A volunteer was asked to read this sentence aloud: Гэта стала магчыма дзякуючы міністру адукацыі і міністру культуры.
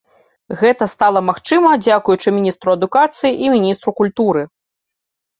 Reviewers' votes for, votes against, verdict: 2, 0, accepted